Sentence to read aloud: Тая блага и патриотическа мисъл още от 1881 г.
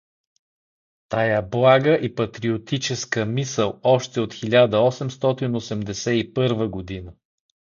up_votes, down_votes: 0, 2